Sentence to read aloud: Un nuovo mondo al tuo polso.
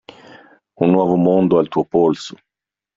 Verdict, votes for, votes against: accepted, 2, 0